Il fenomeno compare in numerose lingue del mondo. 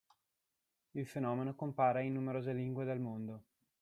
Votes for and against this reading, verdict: 0, 2, rejected